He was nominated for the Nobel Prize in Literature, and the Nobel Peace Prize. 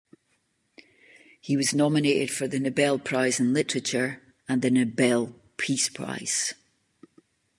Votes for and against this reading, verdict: 2, 0, accepted